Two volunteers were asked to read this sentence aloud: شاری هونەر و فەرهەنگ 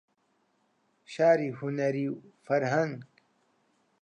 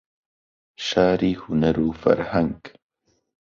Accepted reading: second